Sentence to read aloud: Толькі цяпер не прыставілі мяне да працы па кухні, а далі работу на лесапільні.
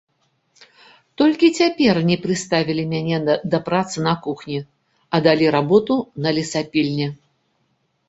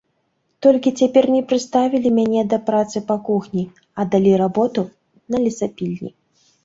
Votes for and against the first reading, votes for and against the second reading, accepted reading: 0, 2, 3, 0, second